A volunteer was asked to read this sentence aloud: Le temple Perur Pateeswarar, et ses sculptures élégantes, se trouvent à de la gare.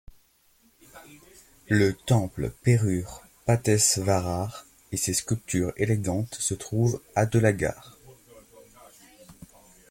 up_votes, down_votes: 1, 2